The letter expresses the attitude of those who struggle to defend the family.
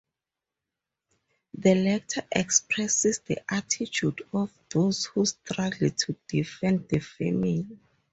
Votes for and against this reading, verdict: 2, 0, accepted